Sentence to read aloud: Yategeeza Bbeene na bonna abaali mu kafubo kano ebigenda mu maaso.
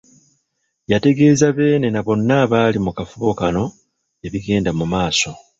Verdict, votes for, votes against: accepted, 2, 1